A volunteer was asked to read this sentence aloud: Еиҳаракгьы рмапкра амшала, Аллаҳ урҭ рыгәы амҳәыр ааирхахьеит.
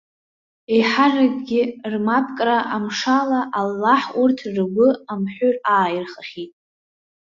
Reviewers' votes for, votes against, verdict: 1, 2, rejected